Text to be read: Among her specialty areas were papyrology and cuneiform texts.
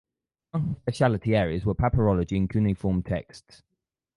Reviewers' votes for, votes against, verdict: 0, 4, rejected